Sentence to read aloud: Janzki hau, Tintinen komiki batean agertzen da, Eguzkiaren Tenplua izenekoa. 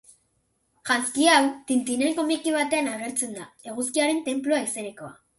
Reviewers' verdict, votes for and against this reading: accepted, 4, 0